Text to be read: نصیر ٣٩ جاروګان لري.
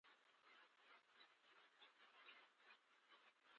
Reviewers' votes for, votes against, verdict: 0, 2, rejected